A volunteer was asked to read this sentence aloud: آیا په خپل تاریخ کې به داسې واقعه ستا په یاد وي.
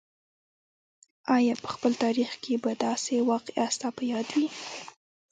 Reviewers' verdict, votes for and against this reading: rejected, 1, 2